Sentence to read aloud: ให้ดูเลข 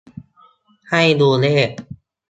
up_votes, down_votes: 2, 0